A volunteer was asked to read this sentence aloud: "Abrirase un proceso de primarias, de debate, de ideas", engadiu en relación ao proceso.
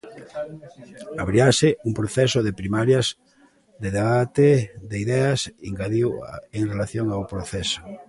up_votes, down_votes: 1, 2